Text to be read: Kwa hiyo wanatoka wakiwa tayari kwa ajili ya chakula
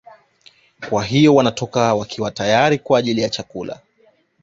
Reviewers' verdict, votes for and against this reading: accepted, 2, 0